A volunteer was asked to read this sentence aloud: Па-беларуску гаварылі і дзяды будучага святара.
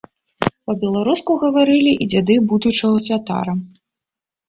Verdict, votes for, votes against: rejected, 0, 2